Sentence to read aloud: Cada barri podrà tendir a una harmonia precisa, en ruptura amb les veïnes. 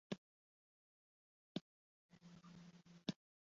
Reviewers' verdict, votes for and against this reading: rejected, 0, 2